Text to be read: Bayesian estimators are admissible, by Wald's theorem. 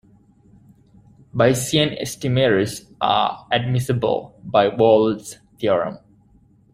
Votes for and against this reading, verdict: 1, 2, rejected